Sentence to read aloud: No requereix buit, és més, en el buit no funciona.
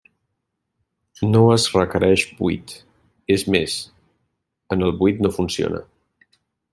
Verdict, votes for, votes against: rejected, 0, 3